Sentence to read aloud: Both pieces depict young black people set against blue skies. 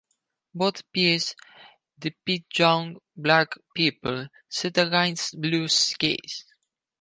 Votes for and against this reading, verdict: 0, 4, rejected